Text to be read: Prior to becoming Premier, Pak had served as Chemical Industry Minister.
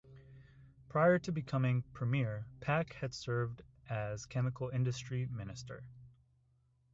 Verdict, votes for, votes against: rejected, 0, 2